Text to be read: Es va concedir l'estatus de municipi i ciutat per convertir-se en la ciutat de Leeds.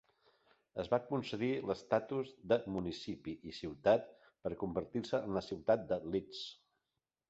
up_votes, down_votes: 2, 0